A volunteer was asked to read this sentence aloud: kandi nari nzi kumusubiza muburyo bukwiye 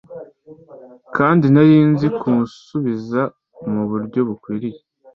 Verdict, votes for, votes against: accepted, 2, 1